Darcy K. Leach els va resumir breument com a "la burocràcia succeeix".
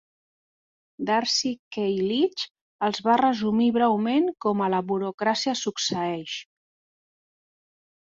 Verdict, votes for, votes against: accepted, 2, 0